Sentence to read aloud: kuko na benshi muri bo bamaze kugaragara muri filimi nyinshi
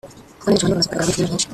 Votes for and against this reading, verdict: 0, 2, rejected